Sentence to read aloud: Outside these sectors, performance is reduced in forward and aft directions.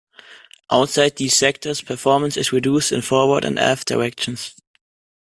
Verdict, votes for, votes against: accepted, 2, 0